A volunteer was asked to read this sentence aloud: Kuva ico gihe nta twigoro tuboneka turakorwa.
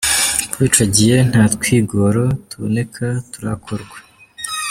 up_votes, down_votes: 2, 0